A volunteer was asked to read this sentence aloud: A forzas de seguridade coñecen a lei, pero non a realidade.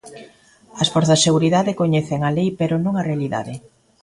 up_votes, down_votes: 2, 0